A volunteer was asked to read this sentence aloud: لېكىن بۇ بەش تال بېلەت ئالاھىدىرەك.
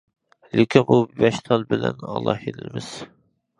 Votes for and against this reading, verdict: 0, 2, rejected